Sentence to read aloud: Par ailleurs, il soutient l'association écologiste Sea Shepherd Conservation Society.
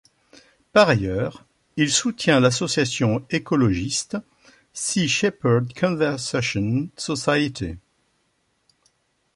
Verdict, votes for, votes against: rejected, 1, 2